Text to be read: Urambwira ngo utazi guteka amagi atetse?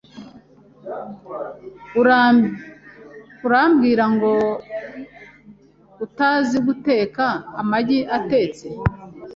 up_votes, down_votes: 1, 2